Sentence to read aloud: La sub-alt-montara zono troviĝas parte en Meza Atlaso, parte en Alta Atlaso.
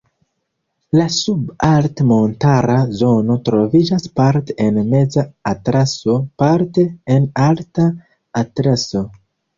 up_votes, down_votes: 0, 2